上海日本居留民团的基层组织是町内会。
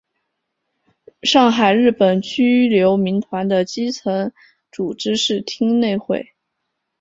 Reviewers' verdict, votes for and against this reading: accepted, 3, 2